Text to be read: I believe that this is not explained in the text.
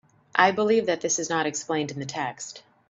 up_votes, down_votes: 2, 0